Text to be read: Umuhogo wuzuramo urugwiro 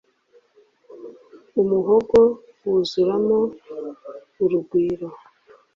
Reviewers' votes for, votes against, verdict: 2, 0, accepted